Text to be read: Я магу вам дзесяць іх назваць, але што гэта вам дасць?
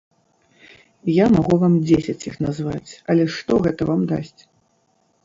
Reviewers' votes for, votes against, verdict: 0, 2, rejected